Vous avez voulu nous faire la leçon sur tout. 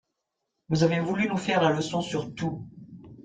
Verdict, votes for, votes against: accepted, 3, 0